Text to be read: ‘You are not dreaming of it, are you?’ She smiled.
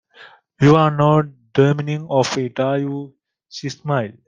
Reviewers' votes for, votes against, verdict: 2, 0, accepted